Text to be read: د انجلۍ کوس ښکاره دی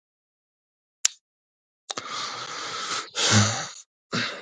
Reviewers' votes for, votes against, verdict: 1, 2, rejected